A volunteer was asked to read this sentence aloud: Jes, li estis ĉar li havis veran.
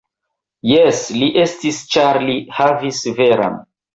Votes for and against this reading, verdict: 1, 2, rejected